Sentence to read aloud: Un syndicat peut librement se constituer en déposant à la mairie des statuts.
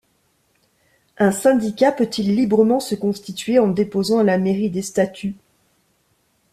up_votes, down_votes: 0, 2